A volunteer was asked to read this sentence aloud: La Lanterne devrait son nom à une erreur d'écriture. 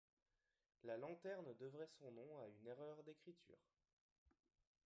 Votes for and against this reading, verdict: 0, 2, rejected